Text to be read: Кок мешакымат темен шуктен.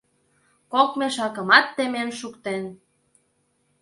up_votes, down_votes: 2, 0